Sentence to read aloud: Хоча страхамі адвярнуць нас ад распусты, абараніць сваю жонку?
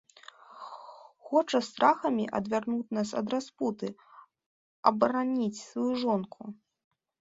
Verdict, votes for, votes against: rejected, 1, 2